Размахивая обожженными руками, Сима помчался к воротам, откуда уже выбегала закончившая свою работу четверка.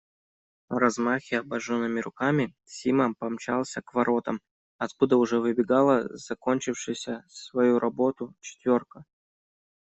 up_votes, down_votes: 1, 2